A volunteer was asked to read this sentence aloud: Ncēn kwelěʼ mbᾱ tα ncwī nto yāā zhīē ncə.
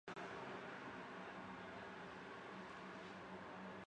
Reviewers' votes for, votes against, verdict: 1, 2, rejected